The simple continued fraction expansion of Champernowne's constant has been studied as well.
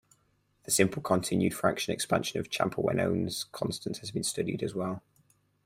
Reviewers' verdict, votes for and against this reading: rejected, 2, 4